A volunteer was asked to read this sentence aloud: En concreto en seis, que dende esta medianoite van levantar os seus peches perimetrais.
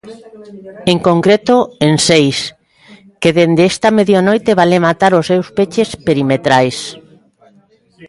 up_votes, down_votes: 0, 3